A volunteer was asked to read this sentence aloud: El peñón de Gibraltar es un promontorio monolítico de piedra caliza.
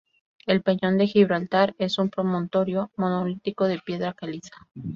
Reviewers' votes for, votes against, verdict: 4, 0, accepted